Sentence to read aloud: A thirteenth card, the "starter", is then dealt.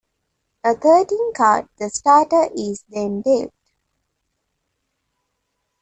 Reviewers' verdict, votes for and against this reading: rejected, 0, 2